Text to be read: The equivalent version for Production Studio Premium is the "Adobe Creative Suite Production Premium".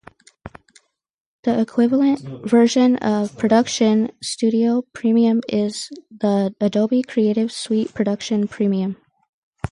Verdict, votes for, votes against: rejected, 2, 4